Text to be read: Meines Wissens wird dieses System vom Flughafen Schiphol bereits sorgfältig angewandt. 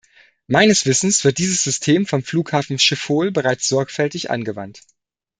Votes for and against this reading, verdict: 2, 0, accepted